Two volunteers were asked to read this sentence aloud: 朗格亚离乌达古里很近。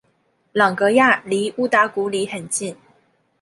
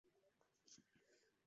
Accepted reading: first